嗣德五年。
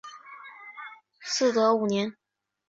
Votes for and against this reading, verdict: 2, 0, accepted